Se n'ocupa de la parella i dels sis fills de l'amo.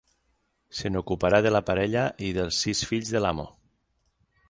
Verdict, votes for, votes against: rejected, 3, 6